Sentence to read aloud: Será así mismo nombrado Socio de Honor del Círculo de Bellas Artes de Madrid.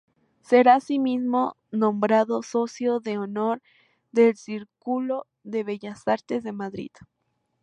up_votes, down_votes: 2, 0